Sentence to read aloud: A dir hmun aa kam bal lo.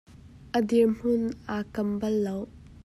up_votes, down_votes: 2, 1